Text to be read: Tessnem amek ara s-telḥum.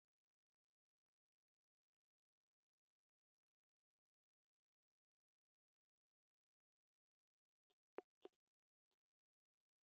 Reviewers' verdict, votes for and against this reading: rejected, 0, 2